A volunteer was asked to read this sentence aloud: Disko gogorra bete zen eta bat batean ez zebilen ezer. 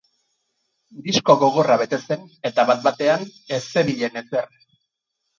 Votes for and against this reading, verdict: 0, 4, rejected